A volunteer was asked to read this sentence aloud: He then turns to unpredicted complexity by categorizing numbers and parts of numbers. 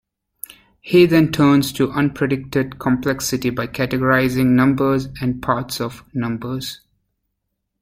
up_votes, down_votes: 2, 0